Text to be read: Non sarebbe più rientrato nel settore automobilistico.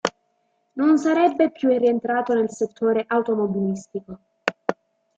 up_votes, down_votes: 2, 0